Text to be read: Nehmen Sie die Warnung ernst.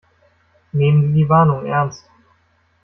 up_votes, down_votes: 1, 2